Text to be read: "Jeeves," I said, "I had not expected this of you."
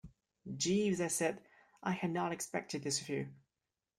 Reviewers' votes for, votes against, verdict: 2, 0, accepted